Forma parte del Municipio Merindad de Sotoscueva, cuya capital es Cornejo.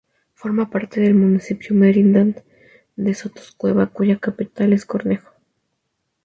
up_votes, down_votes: 2, 0